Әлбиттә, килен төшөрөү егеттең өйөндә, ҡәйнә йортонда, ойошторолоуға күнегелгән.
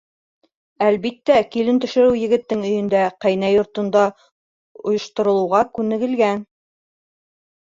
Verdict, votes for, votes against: rejected, 1, 2